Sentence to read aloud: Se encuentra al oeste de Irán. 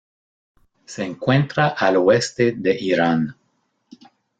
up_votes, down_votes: 2, 1